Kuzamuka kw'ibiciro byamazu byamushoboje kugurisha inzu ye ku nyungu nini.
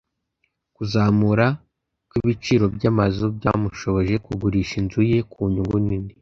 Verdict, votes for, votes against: rejected, 0, 2